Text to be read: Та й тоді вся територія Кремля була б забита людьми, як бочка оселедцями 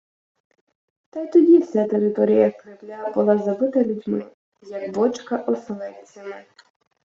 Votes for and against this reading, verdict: 0, 2, rejected